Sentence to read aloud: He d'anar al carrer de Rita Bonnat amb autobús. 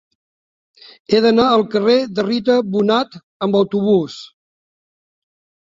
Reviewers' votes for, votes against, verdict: 1, 2, rejected